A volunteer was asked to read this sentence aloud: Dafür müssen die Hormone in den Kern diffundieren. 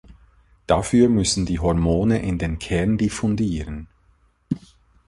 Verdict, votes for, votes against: accepted, 2, 0